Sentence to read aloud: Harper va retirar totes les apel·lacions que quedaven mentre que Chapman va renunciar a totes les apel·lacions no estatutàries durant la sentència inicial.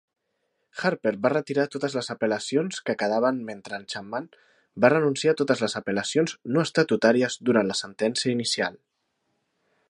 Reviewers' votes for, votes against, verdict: 1, 2, rejected